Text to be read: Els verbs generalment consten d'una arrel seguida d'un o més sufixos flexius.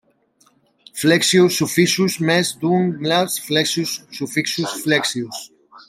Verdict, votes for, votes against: rejected, 0, 2